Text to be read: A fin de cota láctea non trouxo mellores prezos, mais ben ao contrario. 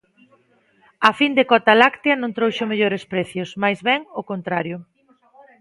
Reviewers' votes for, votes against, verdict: 0, 2, rejected